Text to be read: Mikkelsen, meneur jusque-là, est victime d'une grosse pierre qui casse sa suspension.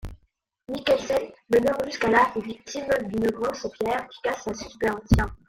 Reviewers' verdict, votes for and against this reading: rejected, 0, 2